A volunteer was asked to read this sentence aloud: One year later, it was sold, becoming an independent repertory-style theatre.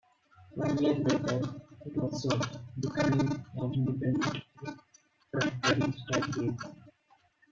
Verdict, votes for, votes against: rejected, 0, 2